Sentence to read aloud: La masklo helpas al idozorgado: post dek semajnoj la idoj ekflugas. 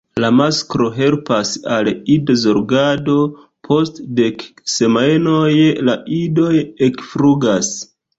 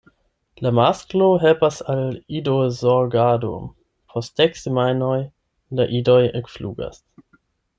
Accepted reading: second